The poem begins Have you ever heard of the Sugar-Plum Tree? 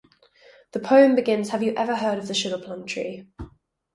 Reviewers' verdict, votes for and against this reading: rejected, 2, 2